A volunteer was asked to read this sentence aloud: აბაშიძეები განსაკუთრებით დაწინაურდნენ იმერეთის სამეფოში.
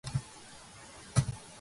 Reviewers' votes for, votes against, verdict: 1, 2, rejected